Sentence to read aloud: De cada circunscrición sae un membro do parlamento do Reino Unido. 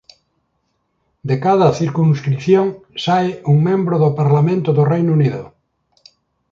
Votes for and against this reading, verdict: 2, 0, accepted